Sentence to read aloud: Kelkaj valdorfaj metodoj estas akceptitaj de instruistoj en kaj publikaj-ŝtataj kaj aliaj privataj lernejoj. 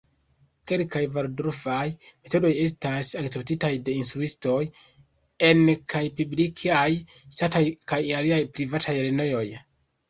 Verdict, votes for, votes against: rejected, 1, 2